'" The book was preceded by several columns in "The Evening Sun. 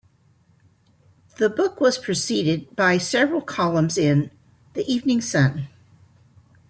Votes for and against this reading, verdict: 2, 0, accepted